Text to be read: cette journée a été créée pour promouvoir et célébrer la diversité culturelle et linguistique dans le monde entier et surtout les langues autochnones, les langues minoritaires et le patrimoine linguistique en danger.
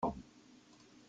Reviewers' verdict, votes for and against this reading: rejected, 0, 2